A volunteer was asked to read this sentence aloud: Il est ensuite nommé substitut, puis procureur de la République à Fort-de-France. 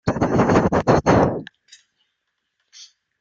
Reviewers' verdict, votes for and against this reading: rejected, 0, 2